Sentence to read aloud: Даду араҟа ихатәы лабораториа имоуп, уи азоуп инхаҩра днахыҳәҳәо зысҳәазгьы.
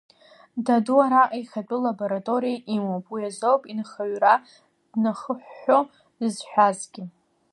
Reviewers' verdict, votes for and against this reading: accepted, 2, 1